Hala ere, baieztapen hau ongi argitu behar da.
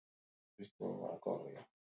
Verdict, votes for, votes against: rejected, 0, 2